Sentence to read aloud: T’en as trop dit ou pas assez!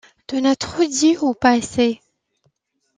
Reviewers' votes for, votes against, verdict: 2, 0, accepted